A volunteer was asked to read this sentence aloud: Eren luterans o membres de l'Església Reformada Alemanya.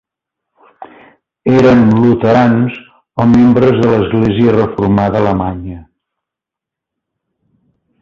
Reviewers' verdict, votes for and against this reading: accepted, 2, 0